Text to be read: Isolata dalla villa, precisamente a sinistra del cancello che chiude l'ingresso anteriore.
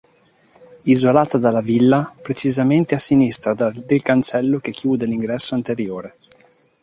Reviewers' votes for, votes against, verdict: 0, 2, rejected